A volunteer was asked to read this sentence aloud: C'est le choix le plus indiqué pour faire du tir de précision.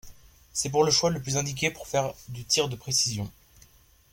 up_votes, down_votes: 0, 2